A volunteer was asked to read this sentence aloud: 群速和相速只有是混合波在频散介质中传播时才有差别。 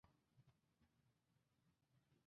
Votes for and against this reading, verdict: 2, 4, rejected